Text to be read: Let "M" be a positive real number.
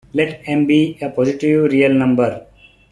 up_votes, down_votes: 2, 0